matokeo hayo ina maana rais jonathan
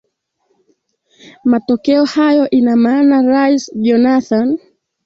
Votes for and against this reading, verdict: 2, 1, accepted